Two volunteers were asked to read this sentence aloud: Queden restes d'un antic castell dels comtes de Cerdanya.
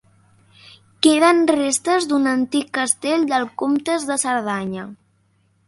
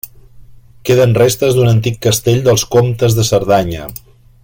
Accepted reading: second